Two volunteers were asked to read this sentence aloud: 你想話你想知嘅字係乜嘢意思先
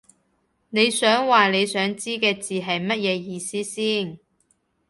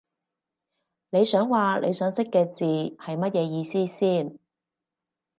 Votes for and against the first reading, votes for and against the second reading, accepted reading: 2, 0, 2, 2, first